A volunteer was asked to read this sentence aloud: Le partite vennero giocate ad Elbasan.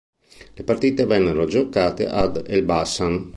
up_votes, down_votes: 2, 0